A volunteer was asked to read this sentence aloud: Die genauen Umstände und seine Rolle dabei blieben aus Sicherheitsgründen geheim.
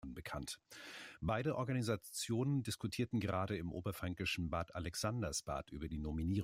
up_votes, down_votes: 0, 2